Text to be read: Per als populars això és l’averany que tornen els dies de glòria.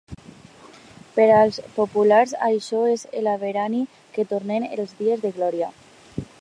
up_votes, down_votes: 0, 2